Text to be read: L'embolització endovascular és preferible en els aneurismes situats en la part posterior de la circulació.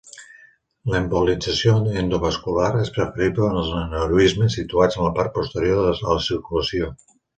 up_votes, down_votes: 0, 2